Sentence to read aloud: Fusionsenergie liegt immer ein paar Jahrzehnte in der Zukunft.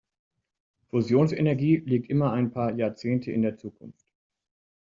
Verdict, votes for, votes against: accepted, 2, 0